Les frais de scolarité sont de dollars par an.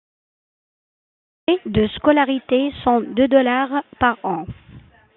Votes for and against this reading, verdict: 1, 2, rejected